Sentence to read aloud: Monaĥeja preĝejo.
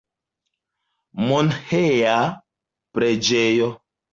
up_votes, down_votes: 0, 2